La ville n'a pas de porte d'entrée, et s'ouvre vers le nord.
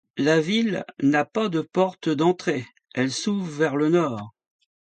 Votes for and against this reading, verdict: 2, 1, accepted